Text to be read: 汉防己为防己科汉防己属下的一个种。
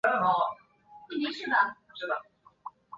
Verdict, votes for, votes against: rejected, 1, 5